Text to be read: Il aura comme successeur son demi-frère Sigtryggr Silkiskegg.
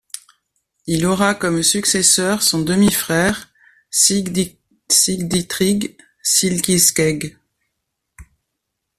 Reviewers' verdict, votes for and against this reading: rejected, 1, 2